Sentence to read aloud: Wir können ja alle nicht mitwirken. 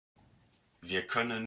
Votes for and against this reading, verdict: 0, 2, rejected